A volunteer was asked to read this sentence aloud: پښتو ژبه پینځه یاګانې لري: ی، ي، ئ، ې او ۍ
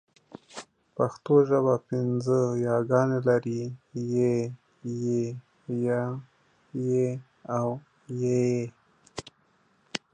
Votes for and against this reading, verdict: 2, 0, accepted